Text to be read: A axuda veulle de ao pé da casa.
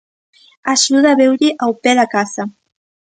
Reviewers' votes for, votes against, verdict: 1, 2, rejected